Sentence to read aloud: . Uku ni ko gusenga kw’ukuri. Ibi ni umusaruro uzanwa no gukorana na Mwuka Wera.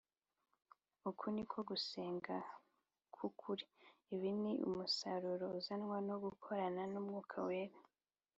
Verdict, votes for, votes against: accepted, 3, 0